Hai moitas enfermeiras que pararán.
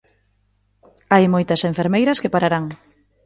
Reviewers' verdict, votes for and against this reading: accepted, 2, 0